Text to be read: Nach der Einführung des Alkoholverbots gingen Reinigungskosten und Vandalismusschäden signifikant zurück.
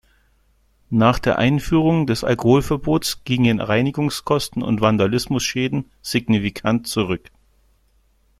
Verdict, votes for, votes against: accepted, 2, 0